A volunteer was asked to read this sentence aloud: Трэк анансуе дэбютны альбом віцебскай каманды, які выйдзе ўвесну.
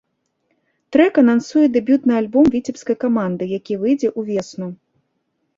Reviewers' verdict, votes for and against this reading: rejected, 0, 2